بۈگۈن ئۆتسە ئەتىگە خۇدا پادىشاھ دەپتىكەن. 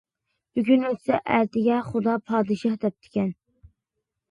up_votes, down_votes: 2, 0